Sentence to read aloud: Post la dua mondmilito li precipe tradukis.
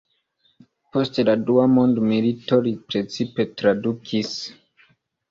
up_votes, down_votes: 2, 0